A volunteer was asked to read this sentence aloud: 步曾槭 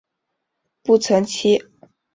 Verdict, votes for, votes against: accepted, 2, 0